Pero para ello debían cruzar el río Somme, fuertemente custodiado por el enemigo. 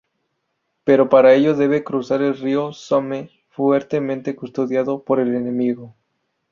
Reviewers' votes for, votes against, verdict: 0, 2, rejected